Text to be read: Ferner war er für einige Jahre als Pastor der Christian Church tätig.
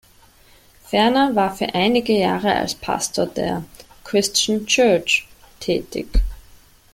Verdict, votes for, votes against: rejected, 1, 2